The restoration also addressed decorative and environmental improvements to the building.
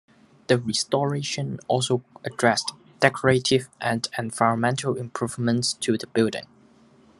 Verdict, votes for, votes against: accepted, 2, 0